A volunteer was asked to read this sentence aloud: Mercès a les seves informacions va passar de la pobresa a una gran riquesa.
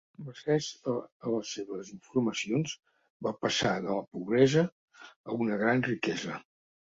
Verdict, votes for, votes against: rejected, 1, 2